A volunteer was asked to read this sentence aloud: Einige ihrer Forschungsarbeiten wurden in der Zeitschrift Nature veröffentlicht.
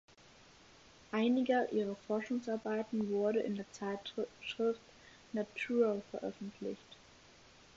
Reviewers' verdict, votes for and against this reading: rejected, 0, 4